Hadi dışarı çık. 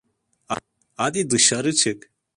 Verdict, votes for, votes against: rejected, 1, 2